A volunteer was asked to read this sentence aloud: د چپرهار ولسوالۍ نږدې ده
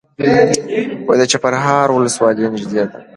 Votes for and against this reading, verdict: 2, 0, accepted